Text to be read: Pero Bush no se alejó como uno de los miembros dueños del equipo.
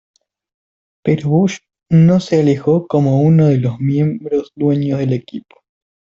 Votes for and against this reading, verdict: 2, 1, accepted